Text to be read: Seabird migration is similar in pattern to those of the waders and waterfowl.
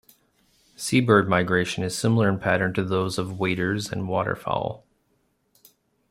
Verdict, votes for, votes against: rejected, 1, 2